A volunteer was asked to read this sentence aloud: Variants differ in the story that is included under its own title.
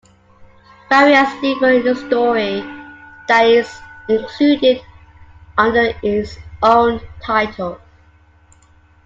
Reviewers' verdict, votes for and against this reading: rejected, 0, 2